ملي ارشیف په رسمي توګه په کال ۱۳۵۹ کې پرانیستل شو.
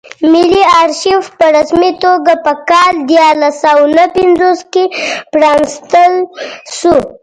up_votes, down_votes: 0, 2